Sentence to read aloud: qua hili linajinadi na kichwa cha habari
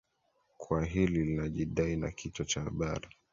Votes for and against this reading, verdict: 1, 2, rejected